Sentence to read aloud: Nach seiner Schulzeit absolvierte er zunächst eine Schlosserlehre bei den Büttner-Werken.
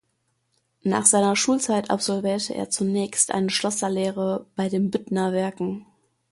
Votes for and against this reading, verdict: 2, 0, accepted